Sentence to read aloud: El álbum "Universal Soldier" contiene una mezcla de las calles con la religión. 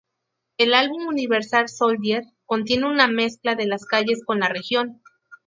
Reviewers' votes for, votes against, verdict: 0, 2, rejected